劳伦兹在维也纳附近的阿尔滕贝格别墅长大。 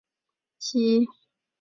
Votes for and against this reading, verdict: 0, 2, rejected